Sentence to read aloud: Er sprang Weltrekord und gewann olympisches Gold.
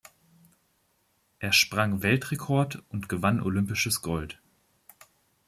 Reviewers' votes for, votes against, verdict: 2, 0, accepted